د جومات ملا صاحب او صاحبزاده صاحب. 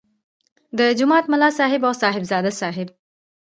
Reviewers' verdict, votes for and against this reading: rejected, 1, 2